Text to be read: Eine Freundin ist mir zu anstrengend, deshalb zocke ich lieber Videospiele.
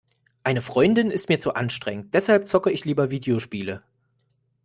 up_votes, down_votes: 2, 0